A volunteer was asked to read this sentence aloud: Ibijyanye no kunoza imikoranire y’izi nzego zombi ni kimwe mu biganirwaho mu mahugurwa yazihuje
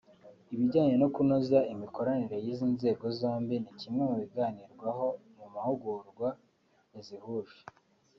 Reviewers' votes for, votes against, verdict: 2, 0, accepted